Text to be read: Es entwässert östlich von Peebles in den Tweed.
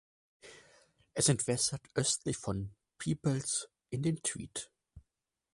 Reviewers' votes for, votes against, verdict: 4, 0, accepted